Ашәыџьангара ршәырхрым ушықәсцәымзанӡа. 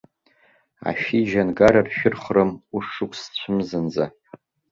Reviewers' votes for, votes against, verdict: 2, 1, accepted